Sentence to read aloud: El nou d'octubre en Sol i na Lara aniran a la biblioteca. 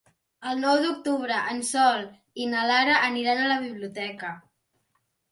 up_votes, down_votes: 3, 0